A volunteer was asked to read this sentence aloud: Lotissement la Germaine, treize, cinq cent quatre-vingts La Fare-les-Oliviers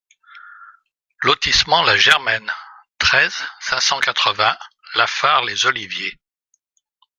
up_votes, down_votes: 2, 0